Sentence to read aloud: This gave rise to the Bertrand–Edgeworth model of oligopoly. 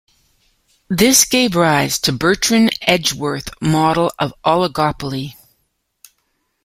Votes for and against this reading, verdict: 0, 2, rejected